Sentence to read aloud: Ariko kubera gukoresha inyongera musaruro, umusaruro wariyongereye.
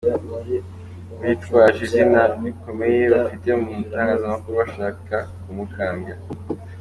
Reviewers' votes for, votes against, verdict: 0, 2, rejected